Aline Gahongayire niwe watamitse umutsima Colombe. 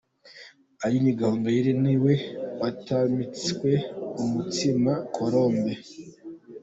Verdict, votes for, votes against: rejected, 0, 2